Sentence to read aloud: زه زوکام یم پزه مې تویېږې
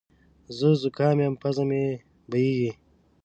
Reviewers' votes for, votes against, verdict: 0, 2, rejected